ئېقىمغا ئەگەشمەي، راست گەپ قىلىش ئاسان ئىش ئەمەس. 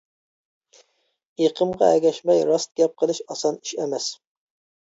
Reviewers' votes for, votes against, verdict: 2, 0, accepted